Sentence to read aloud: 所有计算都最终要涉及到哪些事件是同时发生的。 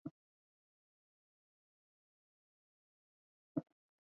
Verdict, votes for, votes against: rejected, 2, 4